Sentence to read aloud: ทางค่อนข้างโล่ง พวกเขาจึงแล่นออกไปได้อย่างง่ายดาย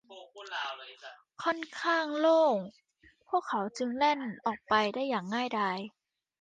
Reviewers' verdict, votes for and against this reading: rejected, 0, 2